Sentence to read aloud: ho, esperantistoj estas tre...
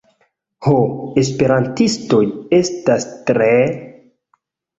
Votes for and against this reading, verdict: 2, 1, accepted